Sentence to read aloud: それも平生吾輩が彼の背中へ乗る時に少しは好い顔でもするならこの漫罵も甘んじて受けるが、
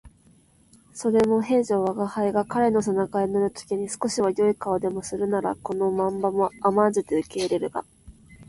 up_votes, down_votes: 10, 9